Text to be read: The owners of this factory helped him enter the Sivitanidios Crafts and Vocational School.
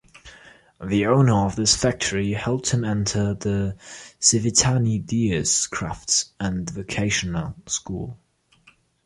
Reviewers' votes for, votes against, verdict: 1, 2, rejected